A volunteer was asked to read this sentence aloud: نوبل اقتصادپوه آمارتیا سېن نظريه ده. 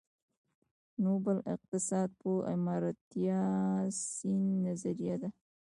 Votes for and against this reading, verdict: 1, 2, rejected